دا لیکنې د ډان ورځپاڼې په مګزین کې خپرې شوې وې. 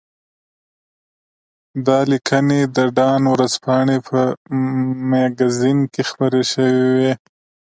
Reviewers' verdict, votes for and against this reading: accepted, 2, 0